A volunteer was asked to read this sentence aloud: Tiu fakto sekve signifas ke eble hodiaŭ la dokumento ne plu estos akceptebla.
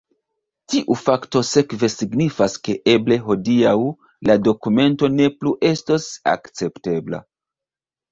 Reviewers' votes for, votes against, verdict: 2, 0, accepted